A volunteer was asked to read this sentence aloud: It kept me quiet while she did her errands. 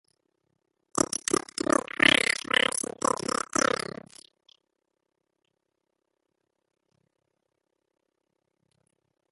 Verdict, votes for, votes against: rejected, 0, 2